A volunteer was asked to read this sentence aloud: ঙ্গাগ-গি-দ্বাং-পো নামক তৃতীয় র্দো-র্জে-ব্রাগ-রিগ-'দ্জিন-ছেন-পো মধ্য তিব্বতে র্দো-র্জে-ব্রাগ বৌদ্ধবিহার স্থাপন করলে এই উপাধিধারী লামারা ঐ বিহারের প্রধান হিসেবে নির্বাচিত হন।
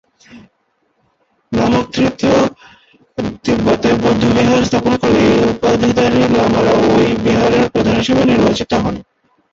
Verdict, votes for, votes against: rejected, 0, 2